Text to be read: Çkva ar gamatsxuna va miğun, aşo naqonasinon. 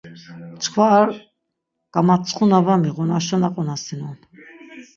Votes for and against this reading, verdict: 3, 6, rejected